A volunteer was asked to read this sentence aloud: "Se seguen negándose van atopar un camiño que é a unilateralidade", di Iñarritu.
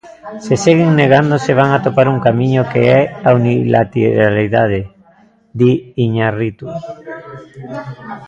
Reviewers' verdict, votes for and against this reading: rejected, 0, 2